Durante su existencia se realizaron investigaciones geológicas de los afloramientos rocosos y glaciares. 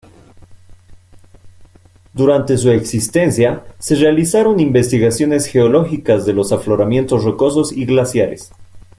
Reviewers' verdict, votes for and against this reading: rejected, 1, 2